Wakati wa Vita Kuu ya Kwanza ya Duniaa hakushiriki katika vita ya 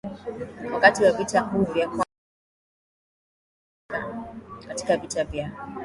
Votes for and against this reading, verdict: 2, 1, accepted